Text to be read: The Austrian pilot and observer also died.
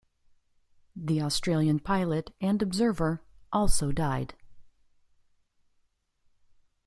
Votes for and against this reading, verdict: 1, 2, rejected